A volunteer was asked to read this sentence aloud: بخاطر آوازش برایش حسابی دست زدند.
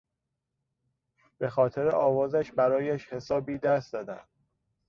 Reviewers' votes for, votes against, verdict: 1, 2, rejected